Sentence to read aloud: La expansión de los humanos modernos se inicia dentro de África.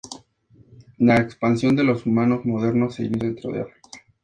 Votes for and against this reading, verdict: 2, 0, accepted